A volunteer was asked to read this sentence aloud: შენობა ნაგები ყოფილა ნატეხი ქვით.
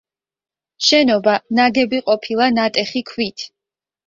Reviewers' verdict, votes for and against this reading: accepted, 2, 0